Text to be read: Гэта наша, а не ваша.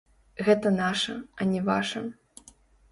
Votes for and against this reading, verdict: 0, 2, rejected